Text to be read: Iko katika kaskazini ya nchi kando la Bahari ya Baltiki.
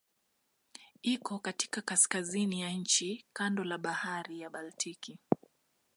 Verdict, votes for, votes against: accepted, 2, 0